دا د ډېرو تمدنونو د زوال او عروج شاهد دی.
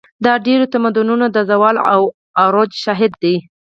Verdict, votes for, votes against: accepted, 4, 2